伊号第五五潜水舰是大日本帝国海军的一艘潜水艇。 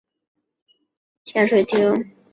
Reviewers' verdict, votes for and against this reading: rejected, 0, 2